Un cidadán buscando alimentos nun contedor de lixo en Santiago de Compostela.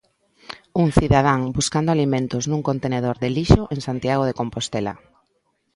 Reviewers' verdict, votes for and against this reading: rejected, 0, 2